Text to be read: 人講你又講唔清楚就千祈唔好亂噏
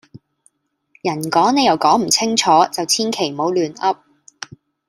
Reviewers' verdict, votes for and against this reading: rejected, 0, 2